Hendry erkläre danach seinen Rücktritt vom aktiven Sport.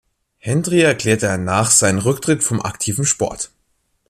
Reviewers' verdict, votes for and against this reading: rejected, 1, 2